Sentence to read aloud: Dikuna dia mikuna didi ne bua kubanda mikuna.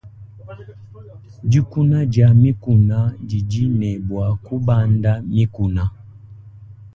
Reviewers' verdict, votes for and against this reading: accepted, 2, 0